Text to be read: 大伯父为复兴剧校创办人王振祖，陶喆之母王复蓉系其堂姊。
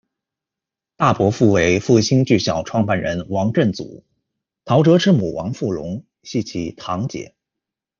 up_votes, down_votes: 1, 2